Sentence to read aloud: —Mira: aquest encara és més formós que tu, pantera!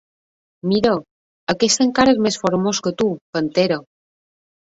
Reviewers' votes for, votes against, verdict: 2, 1, accepted